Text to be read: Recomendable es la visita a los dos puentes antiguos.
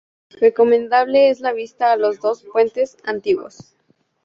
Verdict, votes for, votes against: accepted, 2, 0